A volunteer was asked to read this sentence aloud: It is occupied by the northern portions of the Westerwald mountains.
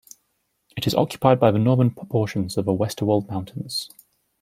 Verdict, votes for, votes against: rejected, 1, 2